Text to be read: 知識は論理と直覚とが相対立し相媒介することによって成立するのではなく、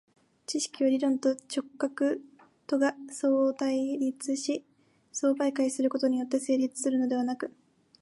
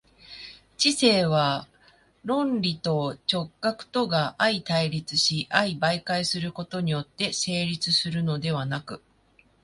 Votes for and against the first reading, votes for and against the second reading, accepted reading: 2, 1, 1, 2, first